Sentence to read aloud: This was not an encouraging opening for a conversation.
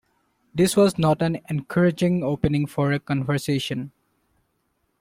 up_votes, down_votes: 2, 0